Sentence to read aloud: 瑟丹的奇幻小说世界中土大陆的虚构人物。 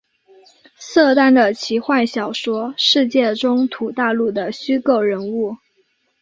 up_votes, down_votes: 2, 0